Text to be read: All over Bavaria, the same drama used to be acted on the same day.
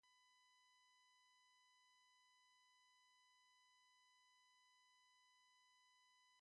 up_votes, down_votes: 0, 2